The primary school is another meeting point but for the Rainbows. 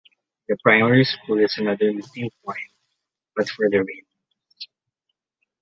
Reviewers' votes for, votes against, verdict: 0, 2, rejected